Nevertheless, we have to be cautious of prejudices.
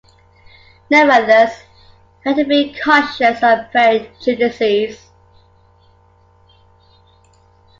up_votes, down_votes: 2, 0